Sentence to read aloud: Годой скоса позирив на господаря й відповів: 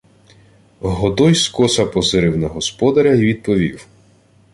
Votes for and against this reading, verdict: 2, 0, accepted